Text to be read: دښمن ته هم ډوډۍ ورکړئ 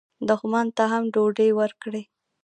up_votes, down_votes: 0, 2